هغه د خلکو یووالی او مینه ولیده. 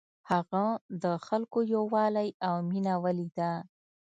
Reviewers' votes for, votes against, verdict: 2, 0, accepted